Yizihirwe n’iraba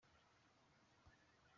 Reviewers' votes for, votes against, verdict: 0, 2, rejected